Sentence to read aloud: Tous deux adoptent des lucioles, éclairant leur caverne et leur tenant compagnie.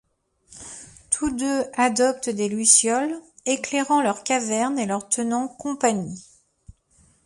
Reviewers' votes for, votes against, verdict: 2, 0, accepted